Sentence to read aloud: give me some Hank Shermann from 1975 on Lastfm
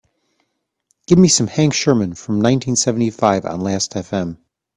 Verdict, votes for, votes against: rejected, 0, 2